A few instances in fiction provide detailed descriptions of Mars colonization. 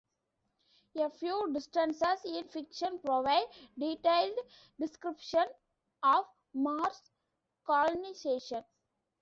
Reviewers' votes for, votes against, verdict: 1, 2, rejected